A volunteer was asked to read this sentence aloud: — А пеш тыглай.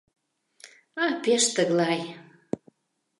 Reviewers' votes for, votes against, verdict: 2, 0, accepted